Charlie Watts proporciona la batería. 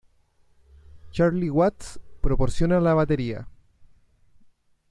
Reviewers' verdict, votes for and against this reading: accepted, 2, 0